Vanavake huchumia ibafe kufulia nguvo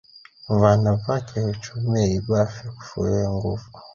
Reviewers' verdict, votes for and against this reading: rejected, 1, 2